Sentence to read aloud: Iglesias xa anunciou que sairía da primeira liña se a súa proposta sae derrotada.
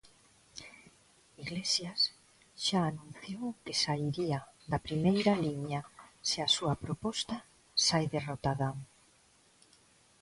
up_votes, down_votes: 0, 2